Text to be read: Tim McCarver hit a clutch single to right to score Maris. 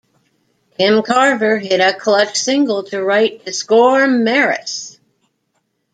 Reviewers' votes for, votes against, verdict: 0, 2, rejected